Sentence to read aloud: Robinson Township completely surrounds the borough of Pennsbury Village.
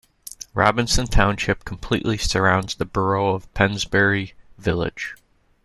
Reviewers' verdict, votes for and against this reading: accepted, 2, 0